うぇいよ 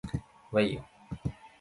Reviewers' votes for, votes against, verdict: 2, 2, rejected